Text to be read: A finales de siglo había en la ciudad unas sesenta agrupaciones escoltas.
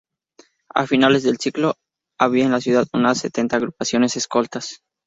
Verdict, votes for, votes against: rejected, 0, 2